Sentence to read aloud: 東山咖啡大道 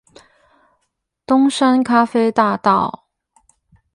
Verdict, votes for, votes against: accepted, 8, 0